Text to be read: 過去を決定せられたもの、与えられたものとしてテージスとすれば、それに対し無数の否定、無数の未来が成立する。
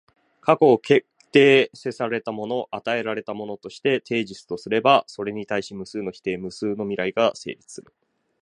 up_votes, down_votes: 2, 1